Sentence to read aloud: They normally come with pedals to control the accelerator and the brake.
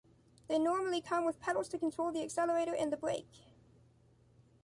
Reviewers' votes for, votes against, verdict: 1, 2, rejected